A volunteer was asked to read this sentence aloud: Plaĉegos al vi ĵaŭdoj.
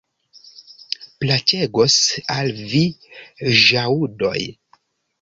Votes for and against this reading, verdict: 0, 2, rejected